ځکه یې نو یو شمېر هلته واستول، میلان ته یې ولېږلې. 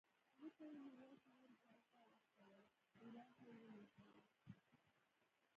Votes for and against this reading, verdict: 0, 2, rejected